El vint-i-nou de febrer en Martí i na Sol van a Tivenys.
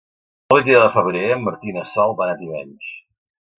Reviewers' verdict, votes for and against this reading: rejected, 0, 2